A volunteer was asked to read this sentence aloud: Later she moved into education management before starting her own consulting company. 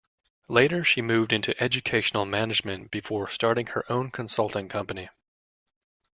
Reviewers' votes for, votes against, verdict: 1, 2, rejected